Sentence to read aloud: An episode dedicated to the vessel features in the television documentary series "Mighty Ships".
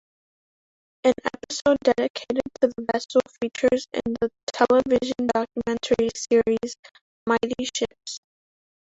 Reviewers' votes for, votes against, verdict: 0, 2, rejected